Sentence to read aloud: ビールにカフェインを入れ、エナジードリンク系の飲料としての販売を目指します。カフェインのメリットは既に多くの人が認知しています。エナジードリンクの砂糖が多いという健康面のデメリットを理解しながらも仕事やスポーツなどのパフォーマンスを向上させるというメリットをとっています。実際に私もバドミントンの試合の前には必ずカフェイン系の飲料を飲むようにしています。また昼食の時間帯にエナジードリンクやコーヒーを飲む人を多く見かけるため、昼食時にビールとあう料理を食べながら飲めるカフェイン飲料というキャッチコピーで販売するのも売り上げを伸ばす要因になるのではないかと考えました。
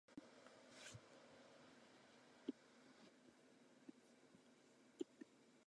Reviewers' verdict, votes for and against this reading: rejected, 0, 2